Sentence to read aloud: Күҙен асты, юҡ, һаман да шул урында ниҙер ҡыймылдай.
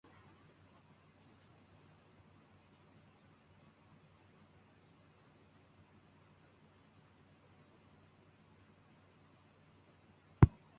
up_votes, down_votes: 0, 2